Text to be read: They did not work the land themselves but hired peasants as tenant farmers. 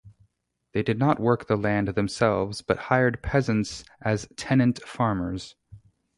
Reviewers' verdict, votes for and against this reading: rejected, 0, 2